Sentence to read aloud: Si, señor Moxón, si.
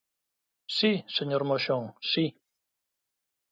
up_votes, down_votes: 2, 0